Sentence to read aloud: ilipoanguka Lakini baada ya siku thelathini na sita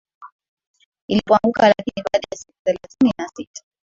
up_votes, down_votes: 1, 2